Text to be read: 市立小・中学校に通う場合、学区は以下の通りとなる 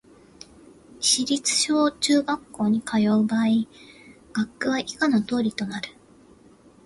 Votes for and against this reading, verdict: 2, 0, accepted